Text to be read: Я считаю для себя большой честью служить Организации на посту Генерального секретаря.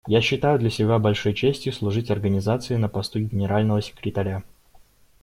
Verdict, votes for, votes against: accepted, 2, 0